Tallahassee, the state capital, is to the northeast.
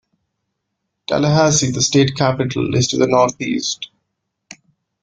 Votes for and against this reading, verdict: 2, 0, accepted